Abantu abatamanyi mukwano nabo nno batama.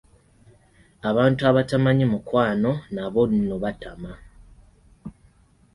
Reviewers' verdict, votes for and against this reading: accepted, 2, 0